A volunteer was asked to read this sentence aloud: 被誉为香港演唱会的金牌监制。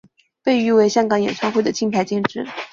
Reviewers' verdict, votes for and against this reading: accepted, 2, 0